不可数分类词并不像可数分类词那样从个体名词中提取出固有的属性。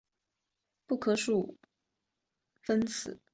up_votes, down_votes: 0, 2